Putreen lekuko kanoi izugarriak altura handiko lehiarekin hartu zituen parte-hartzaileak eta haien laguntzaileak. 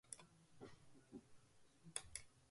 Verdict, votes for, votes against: rejected, 0, 2